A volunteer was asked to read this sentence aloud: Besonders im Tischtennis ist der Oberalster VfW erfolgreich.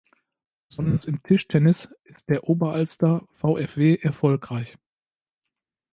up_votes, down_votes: 0, 2